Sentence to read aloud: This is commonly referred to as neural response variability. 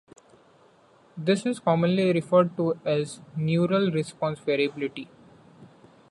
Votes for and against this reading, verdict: 2, 0, accepted